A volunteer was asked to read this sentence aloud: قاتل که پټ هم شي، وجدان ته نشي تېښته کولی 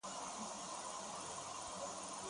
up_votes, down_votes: 3, 6